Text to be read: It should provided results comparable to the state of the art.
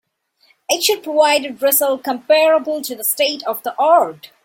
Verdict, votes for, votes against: rejected, 1, 2